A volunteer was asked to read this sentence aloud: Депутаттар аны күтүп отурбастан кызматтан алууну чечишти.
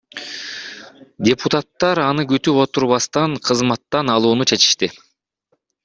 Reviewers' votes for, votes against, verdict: 1, 2, rejected